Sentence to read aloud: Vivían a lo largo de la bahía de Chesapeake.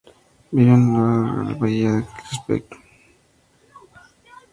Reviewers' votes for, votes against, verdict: 0, 2, rejected